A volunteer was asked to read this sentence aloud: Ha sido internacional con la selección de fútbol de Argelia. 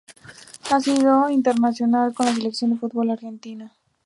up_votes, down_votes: 0, 2